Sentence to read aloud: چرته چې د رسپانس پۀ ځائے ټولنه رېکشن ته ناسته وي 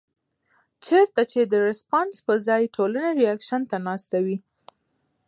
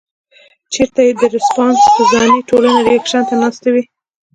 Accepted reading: first